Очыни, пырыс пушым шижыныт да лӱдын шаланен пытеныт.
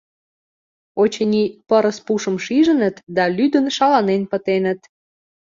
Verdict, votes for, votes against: accepted, 2, 0